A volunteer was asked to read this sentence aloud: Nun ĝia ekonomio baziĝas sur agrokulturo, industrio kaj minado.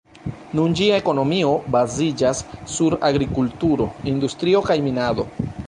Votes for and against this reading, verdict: 0, 2, rejected